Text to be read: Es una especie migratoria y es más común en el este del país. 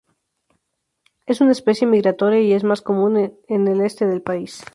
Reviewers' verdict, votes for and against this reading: rejected, 0, 4